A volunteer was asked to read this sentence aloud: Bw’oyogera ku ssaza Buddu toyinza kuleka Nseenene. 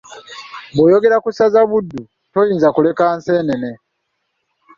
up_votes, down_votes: 2, 0